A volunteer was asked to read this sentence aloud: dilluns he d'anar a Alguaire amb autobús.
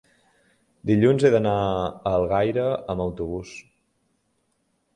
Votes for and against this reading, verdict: 0, 2, rejected